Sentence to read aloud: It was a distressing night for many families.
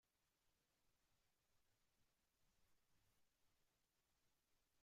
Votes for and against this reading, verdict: 0, 2, rejected